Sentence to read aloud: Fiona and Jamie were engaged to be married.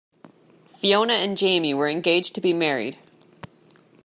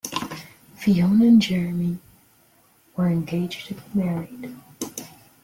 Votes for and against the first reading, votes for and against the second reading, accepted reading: 2, 0, 0, 2, first